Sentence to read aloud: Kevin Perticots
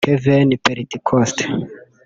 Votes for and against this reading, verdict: 0, 2, rejected